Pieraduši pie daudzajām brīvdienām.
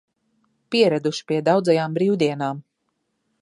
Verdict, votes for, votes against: accepted, 2, 0